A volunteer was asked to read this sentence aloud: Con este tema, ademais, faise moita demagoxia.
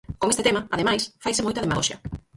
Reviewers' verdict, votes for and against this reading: rejected, 2, 4